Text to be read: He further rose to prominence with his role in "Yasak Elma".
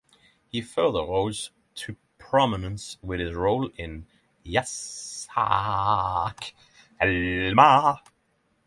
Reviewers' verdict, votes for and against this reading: rejected, 0, 6